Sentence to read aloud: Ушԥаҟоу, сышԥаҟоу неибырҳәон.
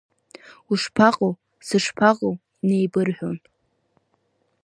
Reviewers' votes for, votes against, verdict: 2, 0, accepted